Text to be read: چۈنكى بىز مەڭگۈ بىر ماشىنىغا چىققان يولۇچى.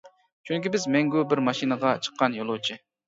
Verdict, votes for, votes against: accepted, 2, 0